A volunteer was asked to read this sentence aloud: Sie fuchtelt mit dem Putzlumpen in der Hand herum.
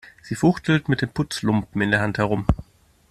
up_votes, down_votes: 2, 0